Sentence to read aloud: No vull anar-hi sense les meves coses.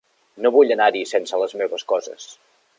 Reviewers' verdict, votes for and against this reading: accepted, 3, 0